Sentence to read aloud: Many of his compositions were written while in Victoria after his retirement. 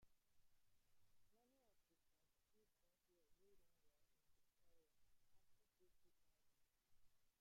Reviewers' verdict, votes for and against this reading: rejected, 0, 2